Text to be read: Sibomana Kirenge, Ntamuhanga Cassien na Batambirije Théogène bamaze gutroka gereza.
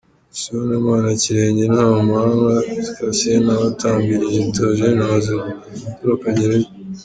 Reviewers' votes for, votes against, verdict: 2, 1, accepted